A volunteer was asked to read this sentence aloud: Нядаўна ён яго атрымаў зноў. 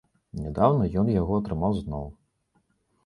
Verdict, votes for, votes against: accepted, 2, 0